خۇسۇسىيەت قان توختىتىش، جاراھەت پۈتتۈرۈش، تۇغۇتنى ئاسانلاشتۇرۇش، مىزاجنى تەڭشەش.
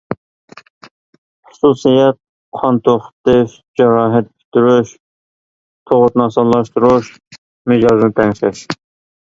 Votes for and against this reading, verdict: 0, 2, rejected